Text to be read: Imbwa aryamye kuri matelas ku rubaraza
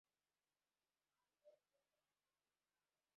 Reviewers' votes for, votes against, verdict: 0, 2, rejected